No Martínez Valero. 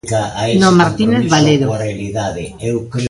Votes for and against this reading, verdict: 1, 2, rejected